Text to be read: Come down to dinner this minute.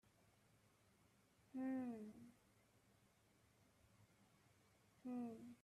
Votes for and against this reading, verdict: 0, 2, rejected